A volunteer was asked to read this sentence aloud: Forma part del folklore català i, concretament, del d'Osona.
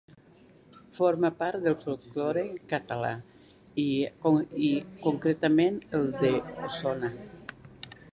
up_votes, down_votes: 1, 2